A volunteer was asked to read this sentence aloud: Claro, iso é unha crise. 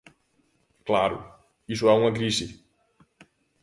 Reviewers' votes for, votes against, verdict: 2, 1, accepted